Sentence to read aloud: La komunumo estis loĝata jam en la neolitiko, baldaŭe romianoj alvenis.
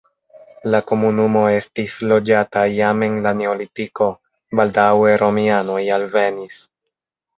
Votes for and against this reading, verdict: 1, 2, rejected